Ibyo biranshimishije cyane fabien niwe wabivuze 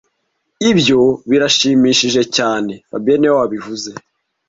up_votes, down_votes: 1, 2